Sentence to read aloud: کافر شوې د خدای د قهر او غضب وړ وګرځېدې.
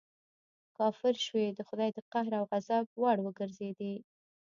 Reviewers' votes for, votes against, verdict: 1, 2, rejected